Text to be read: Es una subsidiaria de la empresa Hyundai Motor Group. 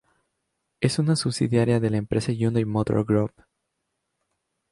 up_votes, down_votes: 2, 0